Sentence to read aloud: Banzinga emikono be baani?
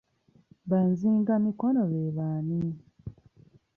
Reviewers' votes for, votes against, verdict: 1, 2, rejected